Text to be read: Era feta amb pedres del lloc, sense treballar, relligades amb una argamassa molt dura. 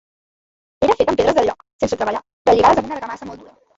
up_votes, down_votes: 1, 2